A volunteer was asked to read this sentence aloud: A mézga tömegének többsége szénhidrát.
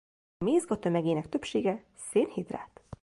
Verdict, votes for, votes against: rejected, 1, 2